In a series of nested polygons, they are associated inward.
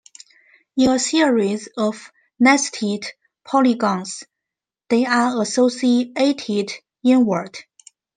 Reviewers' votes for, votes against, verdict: 2, 0, accepted